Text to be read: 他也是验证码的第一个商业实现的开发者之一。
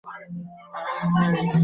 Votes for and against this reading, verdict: 2, 3, rejected